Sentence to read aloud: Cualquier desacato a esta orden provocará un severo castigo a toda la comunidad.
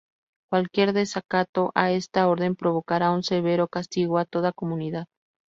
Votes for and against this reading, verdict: 0, 2, rejected